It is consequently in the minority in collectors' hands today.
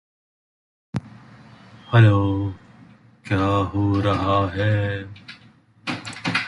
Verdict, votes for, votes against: rejected, 0, 2